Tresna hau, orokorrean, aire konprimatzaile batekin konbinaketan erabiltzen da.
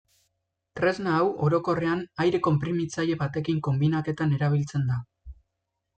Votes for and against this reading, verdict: 1, 2, rejected